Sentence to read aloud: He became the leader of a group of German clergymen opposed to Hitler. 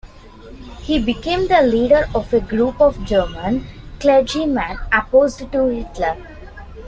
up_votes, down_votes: 1, 2